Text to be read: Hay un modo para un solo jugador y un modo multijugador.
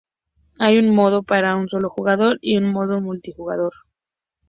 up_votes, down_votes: 2, 0